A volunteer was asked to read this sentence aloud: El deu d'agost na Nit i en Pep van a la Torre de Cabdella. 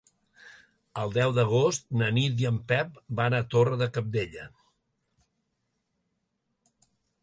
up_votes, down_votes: 1, 2